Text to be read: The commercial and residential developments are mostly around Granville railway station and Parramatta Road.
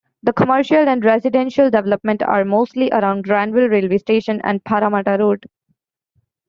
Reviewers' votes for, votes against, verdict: 1, 2, rejected